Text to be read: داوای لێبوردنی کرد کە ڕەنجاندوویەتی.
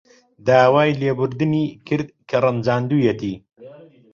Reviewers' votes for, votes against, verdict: 1, 2, rejected